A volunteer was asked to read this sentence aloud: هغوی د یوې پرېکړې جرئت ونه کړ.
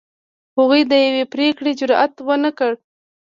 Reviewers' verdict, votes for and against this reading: accepted, 3, 0